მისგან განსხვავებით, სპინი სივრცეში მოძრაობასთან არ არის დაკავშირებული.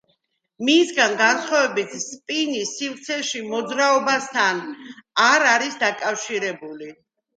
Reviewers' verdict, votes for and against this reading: accepted, 2, 1